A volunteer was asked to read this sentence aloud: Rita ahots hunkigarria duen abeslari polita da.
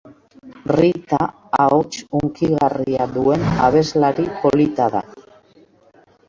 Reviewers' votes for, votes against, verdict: 2, 4, rejected